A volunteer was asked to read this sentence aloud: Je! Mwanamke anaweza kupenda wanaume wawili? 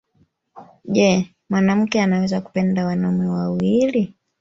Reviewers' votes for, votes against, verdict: 3, 0, accepted